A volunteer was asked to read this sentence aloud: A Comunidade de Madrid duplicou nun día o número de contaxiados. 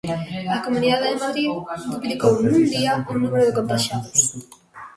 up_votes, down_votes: 0, 2